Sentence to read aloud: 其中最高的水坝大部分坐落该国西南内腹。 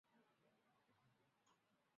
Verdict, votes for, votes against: rejected, 0, 2